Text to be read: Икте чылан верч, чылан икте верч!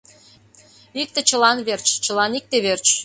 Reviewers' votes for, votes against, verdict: 2, 1, accepted